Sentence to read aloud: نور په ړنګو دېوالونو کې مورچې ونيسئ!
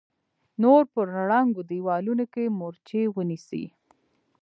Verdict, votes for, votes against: accepted, 2, 0